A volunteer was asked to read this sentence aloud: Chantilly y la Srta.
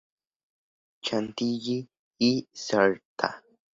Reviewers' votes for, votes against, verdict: 0, 2, rejected